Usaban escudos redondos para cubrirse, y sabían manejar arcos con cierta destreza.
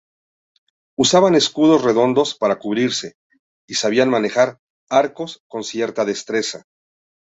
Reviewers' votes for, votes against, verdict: 2, 0, accepted